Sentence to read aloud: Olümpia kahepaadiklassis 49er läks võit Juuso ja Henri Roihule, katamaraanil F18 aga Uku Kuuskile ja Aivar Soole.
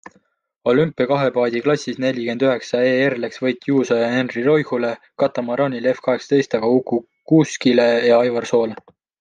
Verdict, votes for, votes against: rejected, 0, 2